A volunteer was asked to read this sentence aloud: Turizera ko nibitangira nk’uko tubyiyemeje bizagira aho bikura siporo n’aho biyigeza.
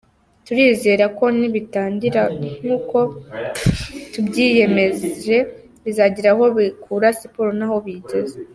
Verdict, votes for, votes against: accepted, 2, 0